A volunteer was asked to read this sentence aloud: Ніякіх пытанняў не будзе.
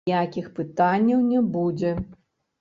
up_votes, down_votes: 0, 2